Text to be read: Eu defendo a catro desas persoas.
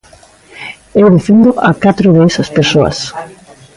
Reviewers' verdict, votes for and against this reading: rejected, 1, 2